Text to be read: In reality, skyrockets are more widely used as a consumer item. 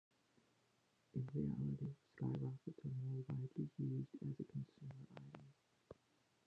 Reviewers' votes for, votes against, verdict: 1, 2, rejected